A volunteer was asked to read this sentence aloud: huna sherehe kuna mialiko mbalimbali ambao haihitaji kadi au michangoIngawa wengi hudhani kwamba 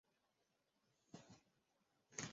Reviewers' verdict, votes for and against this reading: rejected, 0, 2